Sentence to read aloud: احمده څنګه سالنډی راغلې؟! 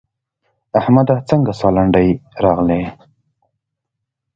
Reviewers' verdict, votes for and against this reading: accepted, 2, 0